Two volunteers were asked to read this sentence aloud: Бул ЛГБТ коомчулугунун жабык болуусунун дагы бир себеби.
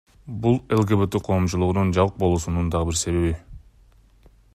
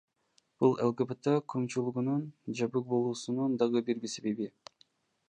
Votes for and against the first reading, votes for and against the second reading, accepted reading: 2, 0, 1, 2, first